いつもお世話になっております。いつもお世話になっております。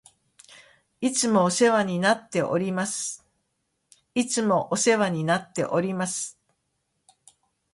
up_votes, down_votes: 2, 0